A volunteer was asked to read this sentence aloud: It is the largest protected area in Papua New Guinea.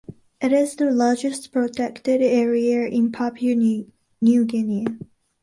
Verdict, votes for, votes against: rejected, 0, 2